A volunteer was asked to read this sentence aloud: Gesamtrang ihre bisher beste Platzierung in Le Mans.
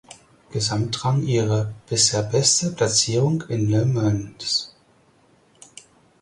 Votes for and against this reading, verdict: 0, 4, rejected